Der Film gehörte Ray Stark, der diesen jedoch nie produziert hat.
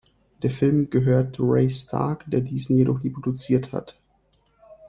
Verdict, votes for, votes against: rejected, 1, 2